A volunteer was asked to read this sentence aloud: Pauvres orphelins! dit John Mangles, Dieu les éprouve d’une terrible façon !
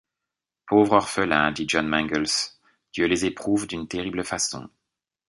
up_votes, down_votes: 2, 0